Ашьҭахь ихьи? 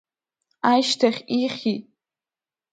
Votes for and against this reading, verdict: 1, 2, rejected